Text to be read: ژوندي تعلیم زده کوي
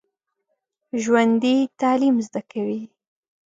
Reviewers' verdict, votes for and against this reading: accepted, 2, 0